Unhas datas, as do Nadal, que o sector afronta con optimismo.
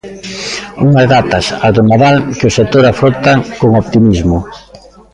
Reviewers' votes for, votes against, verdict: 0, 2, rejected